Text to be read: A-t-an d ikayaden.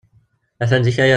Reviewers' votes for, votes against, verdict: 0, 2, rejected